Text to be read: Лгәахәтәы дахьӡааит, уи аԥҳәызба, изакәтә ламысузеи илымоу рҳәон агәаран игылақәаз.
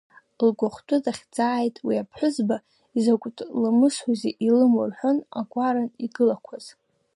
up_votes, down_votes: 2, 1